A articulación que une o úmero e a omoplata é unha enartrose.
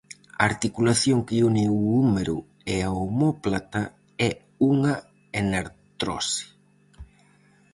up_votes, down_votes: 0, 4